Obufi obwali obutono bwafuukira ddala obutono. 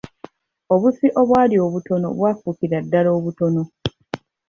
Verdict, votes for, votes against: rejected, 1, 2